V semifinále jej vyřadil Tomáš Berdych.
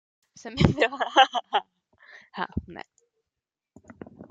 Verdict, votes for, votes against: rejected, 0, 2